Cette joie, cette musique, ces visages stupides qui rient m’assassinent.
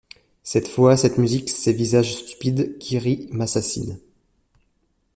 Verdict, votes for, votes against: rejected, 1, 2